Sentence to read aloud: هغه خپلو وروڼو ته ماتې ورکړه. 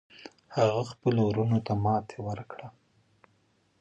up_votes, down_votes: 0, 2